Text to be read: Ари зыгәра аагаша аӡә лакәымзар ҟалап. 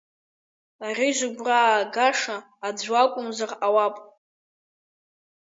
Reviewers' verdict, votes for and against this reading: accepted, 2, 0